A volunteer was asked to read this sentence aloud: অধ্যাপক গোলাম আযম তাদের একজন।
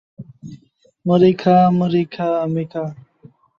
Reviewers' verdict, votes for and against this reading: rejected, 0, 2